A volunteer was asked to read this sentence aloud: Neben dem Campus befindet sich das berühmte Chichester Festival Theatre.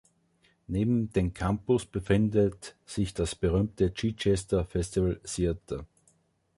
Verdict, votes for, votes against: accepted, 2, 0